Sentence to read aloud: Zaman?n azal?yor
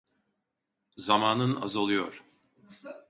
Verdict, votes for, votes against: rejected, 0, 2